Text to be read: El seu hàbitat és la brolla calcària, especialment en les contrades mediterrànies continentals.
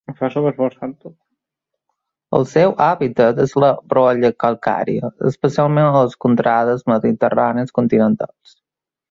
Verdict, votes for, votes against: rejected, 0, 2